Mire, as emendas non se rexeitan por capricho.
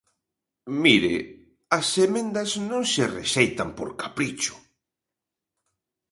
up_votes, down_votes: 2, 0